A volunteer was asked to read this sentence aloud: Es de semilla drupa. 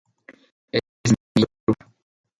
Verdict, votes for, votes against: rejected, 0, 2